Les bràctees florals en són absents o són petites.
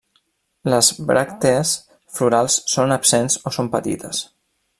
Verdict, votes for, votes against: rejected, 1, 2